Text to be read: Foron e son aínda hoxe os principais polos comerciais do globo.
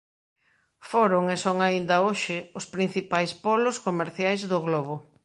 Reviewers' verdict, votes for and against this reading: accepted, 2, 0